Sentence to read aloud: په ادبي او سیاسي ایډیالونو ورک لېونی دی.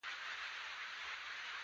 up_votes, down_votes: 0, 2